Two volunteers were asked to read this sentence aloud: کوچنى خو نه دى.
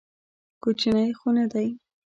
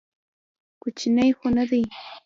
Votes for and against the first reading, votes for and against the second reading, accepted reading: 1, 2, 2, 0, second